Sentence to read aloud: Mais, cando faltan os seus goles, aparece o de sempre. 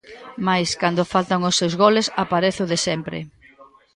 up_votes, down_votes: 1, 2